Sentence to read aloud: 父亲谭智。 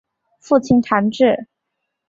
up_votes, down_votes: 3, 0